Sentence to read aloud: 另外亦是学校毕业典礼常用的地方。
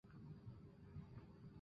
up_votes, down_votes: 1, 2